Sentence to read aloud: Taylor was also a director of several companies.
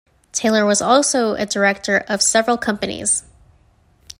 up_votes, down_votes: 2, 0